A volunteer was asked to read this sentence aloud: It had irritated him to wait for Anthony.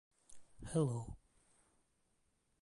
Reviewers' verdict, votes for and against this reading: rejected, 0, 2